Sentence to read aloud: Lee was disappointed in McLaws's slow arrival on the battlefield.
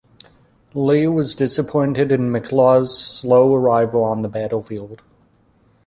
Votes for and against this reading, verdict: 2, 1, accepted